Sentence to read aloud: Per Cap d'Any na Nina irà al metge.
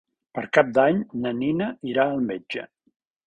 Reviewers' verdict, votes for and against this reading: accepted, 3, 0